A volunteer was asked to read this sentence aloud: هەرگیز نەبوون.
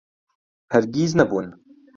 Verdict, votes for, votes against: accepted, 2, 0